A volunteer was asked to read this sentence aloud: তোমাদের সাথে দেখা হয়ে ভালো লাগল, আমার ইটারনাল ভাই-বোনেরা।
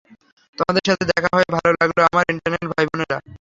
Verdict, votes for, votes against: accepted, 3, 0